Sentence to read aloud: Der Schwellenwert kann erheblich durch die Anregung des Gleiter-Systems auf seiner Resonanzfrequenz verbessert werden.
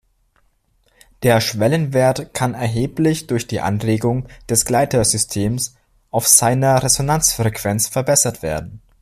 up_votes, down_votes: 2, 0